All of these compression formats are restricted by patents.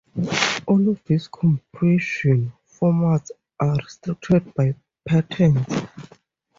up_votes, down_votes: 0, 2